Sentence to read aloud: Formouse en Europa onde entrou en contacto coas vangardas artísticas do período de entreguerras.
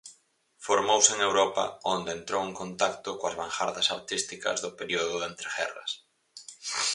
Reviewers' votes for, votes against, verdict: 2, 2, rejected